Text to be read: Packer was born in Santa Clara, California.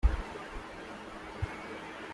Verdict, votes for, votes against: rejected, 0, 2